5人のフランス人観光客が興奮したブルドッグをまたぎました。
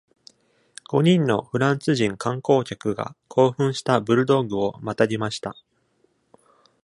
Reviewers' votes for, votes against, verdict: 0, 2, rejected